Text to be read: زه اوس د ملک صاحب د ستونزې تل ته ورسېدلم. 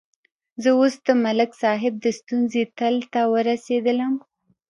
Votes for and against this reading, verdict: 1, 2, rejected